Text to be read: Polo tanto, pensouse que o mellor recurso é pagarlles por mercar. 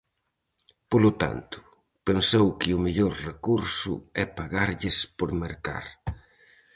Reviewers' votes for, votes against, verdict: 0, 4, rejected